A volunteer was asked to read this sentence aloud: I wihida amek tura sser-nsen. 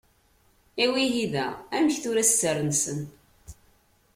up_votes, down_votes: 2, 0